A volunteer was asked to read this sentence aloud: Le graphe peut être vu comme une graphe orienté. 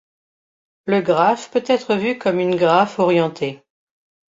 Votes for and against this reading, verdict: 2, 0, accepted